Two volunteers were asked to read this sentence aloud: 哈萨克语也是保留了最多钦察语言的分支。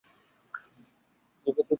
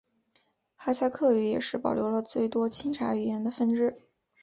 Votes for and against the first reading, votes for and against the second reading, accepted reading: 0, 3, 6, 0, second